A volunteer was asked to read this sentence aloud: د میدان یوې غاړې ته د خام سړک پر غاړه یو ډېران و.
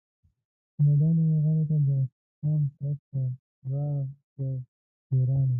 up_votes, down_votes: 0, 2